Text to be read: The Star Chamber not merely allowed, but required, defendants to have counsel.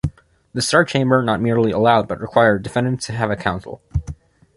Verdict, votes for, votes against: accepted, 2, 1